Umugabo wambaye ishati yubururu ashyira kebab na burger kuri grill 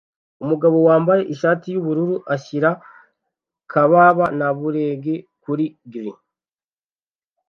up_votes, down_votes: 1, 2